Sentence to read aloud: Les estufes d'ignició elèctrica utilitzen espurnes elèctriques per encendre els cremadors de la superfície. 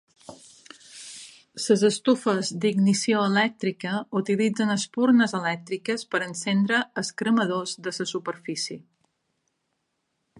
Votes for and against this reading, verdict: 1, 2, rejected